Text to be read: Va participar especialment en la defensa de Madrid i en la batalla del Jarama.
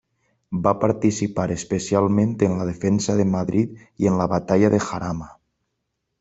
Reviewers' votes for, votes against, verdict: 1, 2, rejected